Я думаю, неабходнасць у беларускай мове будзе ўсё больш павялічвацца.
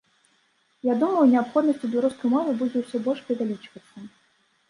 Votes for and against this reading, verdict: 2, 0, accepted